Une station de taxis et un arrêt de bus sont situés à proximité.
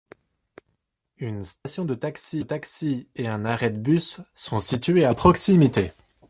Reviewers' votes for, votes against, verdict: 0, 2, rejected